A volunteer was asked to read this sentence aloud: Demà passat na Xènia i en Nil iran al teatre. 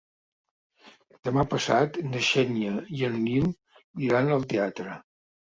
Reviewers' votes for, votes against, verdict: 2, 0, accepted